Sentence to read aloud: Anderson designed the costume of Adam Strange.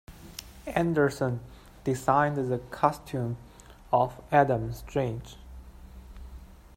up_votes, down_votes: 2, 1